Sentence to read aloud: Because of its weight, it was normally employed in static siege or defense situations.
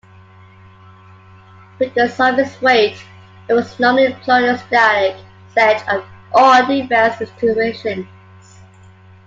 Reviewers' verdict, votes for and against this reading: rejected, 0, 2